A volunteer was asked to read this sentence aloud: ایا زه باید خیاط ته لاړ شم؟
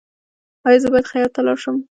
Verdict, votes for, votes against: rejected, 0, 2